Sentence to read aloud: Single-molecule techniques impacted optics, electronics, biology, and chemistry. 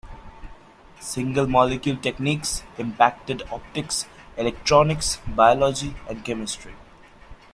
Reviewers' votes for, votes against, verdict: 2, 0, accepted